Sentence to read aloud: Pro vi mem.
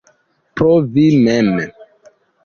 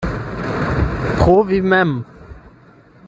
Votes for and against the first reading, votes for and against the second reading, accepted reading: 1, 2, 8, 0, second